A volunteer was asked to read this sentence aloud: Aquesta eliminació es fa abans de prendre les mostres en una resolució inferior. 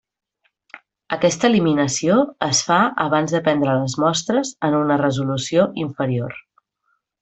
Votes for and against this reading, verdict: 3, 0, accepted